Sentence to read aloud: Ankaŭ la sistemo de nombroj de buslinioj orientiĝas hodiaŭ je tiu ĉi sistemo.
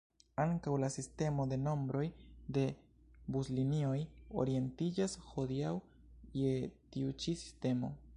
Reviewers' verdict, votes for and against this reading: rejected, 1, 2